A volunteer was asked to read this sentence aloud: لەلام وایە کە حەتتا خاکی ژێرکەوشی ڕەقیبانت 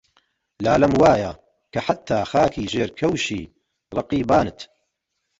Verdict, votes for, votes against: rejected, 0, 2